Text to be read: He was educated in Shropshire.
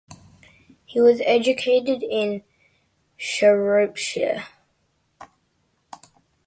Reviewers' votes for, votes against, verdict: 2, 0, accepted